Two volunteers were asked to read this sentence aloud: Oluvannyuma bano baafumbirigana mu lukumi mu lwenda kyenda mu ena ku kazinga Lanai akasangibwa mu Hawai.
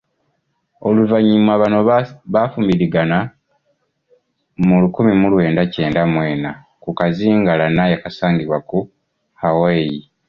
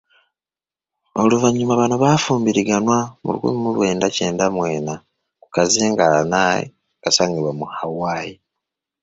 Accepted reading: first